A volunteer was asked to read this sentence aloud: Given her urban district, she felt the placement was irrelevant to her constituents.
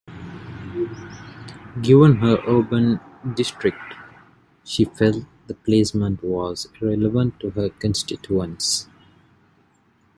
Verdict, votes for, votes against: accepted, 2, 0